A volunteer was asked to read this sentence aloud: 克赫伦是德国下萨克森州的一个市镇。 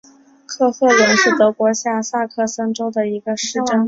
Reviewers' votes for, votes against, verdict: 4, 0, accepted